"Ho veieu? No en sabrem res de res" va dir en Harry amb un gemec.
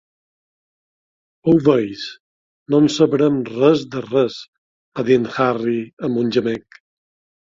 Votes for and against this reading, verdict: 0, 2, rejected